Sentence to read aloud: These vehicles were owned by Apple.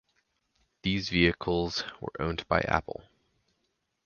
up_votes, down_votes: 4, 0